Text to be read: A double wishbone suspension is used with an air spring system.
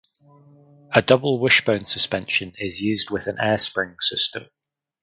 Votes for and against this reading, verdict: 4, 0, accepted